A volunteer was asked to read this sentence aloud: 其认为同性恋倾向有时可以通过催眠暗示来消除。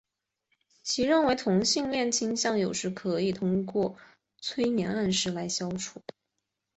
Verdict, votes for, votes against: accepted, 7, 0